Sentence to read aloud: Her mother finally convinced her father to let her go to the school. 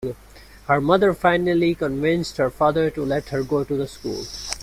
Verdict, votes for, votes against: rejected, 0, 2